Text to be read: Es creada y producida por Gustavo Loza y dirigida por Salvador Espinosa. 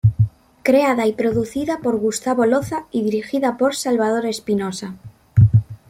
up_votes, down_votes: 0, 2